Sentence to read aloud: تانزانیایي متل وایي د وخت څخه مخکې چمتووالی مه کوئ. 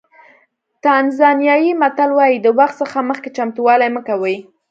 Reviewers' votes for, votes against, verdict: 2, 0, accepted